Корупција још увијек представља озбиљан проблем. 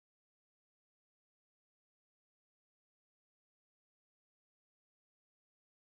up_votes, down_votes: 0, 2